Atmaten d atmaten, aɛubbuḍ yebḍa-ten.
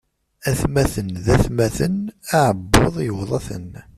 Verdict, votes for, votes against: rejected, 0, 2